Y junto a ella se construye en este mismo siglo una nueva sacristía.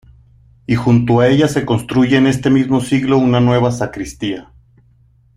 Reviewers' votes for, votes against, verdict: 2, 0, accepted